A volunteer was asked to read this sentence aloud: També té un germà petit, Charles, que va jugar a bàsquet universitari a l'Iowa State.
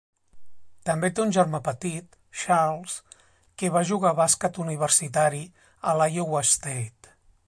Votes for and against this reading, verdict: 3, 0, accepted